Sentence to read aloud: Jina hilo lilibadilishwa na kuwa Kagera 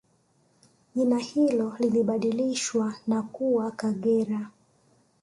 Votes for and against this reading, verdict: 2, 1, accepted